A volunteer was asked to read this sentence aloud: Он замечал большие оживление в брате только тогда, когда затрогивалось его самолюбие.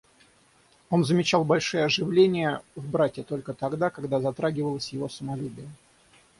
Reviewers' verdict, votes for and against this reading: rejected, 3, 6